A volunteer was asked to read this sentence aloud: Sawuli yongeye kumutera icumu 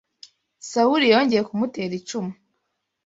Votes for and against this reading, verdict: 2, 0, accepted